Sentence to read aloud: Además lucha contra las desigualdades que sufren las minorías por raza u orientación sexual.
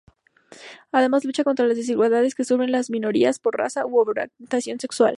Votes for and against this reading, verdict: 2, 0, accepted